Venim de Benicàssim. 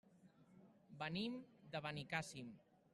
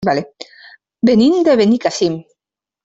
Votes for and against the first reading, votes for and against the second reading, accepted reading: 3, 0, 0, 2, first